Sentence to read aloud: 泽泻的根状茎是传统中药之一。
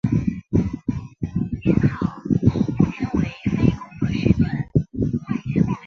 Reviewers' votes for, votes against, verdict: 0, 4, rejected